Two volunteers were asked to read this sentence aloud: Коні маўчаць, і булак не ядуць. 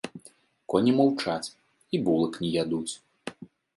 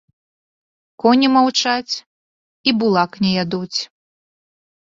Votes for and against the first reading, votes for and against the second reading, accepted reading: 2, 0, 0, 2, first